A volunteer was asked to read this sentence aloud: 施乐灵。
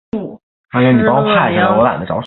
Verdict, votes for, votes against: rejected, 0, 2